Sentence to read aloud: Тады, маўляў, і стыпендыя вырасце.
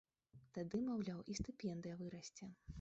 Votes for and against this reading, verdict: 1, 3, rejected